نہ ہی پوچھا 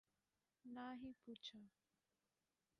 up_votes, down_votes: 1, 3